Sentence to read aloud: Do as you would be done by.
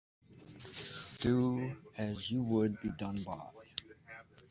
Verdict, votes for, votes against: accepted, 2, 0